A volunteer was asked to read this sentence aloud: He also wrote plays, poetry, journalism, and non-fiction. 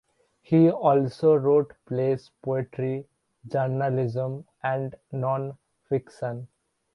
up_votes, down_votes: 2, 1